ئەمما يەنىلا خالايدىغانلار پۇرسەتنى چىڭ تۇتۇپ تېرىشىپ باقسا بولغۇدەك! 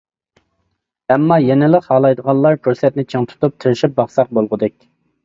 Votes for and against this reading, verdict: 0, 2, rejected